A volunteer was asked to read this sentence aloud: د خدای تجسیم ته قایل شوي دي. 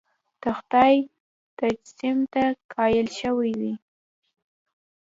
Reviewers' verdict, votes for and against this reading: accepted, 2, 0